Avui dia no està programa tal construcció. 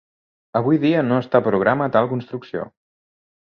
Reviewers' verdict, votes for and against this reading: accepted, 2, 0